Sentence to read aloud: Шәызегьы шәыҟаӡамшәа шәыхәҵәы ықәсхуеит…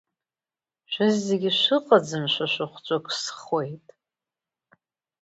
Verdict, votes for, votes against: accepted, 2, 0